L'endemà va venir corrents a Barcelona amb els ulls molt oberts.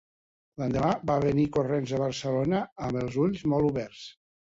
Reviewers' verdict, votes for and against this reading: accepted, 3, 0